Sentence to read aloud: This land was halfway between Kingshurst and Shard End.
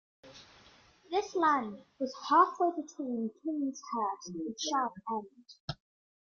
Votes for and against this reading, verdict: 2, 0, accepted